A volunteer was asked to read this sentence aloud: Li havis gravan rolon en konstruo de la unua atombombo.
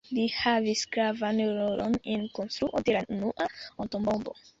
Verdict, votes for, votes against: rejected, 1, 2